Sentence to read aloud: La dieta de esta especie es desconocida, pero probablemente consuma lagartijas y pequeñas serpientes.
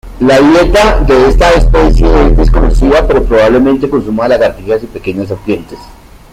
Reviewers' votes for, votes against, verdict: 2, 0, accepted